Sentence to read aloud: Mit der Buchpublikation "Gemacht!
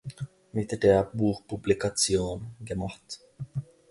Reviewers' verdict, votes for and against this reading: rejected, 1, 2